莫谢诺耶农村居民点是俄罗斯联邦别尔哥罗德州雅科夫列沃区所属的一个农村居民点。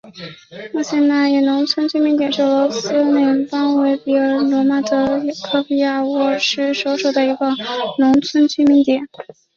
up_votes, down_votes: 1, 2